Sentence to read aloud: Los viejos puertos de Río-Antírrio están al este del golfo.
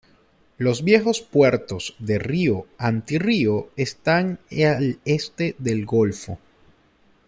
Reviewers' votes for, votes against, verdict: 0, 2, rejected